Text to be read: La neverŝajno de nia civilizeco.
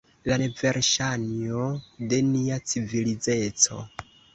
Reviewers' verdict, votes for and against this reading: rejected, 1, 2